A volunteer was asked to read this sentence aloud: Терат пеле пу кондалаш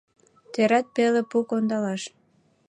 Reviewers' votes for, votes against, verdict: 2, 0, accepted